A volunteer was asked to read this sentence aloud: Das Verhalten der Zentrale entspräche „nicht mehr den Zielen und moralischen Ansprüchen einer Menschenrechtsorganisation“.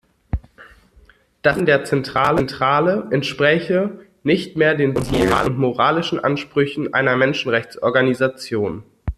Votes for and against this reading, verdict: 0, 2, rejected